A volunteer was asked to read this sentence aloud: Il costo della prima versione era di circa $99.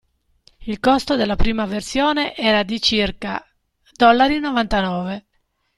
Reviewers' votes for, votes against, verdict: 0, 2, rejected